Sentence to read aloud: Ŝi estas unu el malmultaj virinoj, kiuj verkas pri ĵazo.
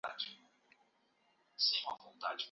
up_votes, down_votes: 0, 2